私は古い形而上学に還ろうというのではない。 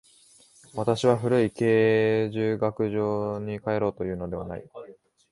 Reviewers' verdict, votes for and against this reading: rejected, 0, 2